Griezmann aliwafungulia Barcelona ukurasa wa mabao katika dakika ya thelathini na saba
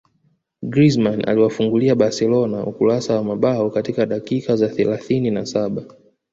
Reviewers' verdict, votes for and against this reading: rejected, 0, 2